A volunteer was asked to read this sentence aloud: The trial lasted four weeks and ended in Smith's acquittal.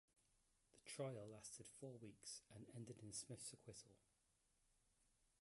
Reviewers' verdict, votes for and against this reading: rejected, 0, 2